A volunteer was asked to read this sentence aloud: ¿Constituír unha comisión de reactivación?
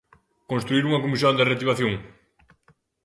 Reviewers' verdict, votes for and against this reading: rejected, 0, 2